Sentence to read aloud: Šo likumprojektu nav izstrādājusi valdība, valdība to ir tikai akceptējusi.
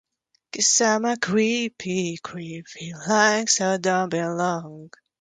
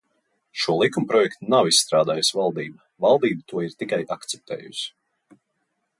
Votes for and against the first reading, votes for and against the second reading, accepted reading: 0, 2, 2, 0, second